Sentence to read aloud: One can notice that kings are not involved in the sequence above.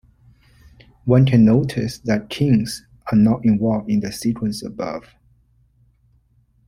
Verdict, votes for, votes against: accepted, 2, 0